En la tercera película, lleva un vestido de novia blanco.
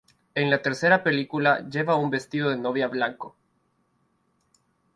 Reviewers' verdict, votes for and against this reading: accepted, 2, 0